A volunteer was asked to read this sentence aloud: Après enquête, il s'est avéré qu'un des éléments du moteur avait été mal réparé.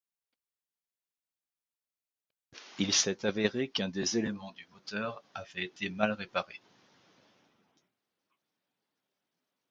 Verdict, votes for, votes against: rejected, 0, 2